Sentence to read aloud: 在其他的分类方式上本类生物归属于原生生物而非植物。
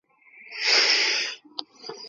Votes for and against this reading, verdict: 0, 3, rejected